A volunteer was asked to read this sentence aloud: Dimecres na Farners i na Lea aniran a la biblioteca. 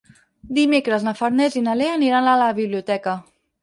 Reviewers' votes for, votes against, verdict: 4, 0, accepted